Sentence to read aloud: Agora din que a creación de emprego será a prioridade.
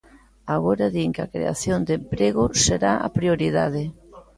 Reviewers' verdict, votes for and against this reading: accepted, 2, 0